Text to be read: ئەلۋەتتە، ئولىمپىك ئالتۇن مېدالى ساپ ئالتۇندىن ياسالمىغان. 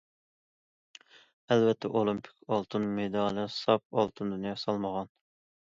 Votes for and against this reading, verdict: 2, 0, accepted